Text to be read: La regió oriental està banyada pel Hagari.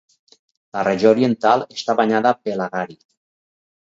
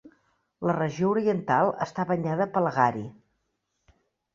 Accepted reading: first